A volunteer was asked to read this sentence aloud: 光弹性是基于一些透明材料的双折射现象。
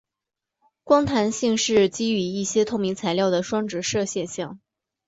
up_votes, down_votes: 4, 0